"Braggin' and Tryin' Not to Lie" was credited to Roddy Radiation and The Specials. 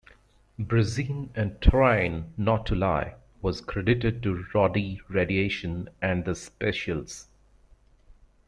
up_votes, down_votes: 0, 2